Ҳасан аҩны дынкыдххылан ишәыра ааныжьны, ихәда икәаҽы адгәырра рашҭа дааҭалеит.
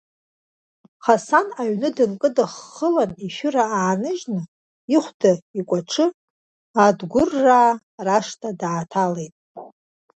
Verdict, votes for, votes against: rejected, 1, 2